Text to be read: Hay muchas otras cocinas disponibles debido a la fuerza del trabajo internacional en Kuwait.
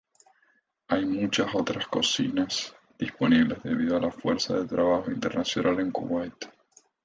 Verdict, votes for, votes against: accepted, 8, 0